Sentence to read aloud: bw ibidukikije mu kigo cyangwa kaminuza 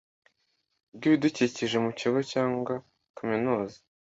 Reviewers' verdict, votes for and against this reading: accepted, 2, 0